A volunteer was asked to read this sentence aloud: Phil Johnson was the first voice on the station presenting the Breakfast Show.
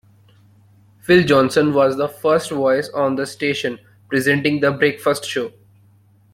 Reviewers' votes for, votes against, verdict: 2, 0, accepted